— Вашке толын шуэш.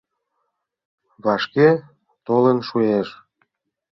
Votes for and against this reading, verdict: 2, 0, accepted